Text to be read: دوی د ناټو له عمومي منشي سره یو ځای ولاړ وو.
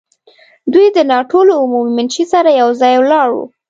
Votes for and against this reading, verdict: 2, 0, accepted